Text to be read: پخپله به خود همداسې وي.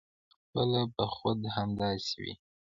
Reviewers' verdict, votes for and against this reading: rejected, 0, 2